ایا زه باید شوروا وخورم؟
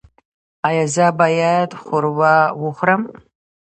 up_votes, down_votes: 1, 2